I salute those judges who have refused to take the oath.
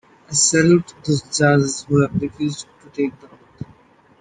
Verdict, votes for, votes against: accepted, 2, 1